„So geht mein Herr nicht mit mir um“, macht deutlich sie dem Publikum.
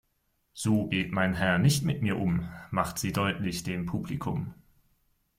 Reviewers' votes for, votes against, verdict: 1, 2, rejected